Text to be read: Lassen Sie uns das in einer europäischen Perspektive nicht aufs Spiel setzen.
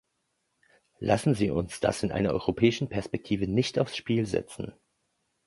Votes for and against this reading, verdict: 2, 0, accepted